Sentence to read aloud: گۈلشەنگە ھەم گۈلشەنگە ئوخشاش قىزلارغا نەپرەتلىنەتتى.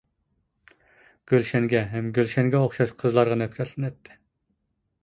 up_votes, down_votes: 2, 0